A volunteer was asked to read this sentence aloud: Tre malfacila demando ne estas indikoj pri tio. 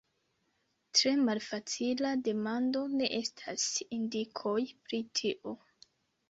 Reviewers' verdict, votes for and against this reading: accepted, 2, 0